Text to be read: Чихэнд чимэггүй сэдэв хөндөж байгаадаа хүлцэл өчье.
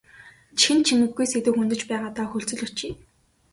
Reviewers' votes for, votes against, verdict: 2, 0, accepted